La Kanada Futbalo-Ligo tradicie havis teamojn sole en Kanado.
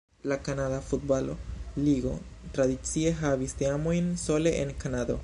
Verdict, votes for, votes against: rejected, 0, 2